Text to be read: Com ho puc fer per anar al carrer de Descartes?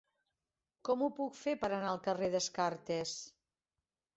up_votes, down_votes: 1, 4